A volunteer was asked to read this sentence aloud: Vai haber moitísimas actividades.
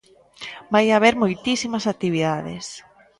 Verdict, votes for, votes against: accepted, 2, 0